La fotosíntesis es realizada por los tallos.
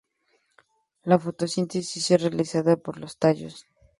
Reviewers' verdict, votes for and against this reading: accepted, 2, 0